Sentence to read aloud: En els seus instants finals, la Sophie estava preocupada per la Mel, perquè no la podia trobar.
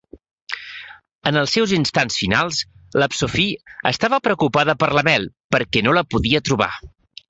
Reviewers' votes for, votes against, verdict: 2, 0, accepted